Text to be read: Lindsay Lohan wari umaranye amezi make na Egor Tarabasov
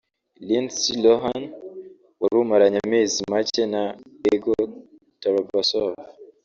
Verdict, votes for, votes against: rejected, 1, 2